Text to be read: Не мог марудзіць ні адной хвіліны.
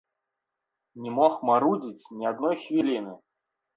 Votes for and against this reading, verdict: 1, 2, rejected